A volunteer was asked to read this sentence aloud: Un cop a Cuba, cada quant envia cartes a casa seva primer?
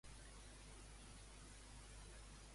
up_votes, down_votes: 0, 2